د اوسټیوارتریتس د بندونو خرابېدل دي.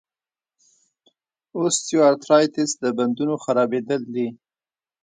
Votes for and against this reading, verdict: 1, 2, rejected